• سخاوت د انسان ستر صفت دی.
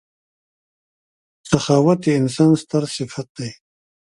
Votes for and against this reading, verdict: 2, 0, accepted